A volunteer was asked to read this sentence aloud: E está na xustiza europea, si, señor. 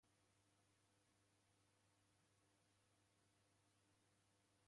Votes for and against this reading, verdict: 0, 2, rejected